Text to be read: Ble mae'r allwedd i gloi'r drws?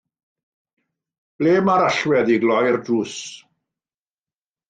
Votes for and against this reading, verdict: 2, 0, accepted